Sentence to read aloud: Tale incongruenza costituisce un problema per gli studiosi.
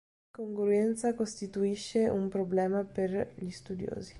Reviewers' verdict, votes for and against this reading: rejected, 1, 4